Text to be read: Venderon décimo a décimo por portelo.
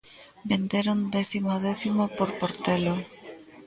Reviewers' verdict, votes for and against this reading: accepted, 2, 0